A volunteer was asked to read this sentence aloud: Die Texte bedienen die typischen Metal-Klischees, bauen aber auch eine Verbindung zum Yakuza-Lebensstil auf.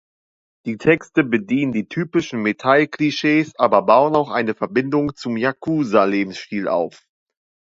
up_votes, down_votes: 1, 2